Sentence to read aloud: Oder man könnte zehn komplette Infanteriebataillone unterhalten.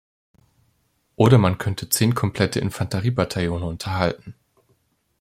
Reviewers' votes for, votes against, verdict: 2, 0, accepted